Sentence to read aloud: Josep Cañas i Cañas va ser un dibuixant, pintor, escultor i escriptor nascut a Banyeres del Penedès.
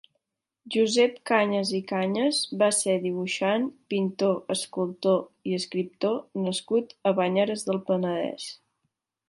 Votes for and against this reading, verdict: 1, 2, rejected